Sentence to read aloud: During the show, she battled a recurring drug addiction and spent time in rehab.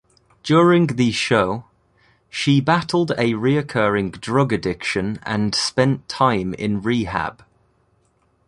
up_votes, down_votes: 1, 2